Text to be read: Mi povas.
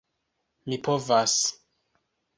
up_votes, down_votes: 2, 0